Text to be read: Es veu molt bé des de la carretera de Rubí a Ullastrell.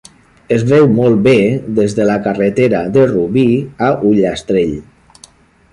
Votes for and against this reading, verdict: 1, 2, rejected